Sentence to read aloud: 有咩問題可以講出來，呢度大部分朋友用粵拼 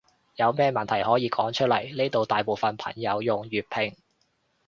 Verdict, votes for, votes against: rejected, 1, 2